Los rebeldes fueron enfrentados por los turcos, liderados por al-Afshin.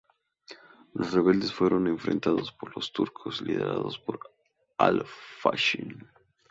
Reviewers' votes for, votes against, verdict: 2, 2, rejected